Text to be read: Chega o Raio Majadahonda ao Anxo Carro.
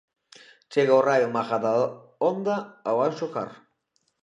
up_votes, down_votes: 1, 2